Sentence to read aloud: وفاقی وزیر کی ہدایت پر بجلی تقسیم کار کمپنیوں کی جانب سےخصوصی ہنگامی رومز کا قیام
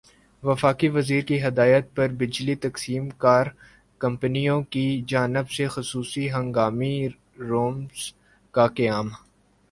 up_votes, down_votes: 2, 1